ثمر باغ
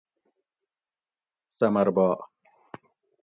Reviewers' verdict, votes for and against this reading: accepted, 2, 0